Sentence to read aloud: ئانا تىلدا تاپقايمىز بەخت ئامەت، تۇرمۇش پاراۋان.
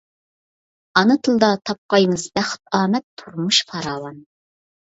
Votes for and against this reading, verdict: 2, 0, accepted